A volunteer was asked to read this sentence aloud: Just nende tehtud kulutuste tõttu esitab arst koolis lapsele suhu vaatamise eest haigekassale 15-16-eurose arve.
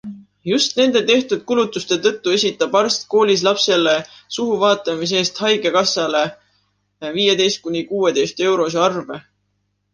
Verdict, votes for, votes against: rejected, 0, 2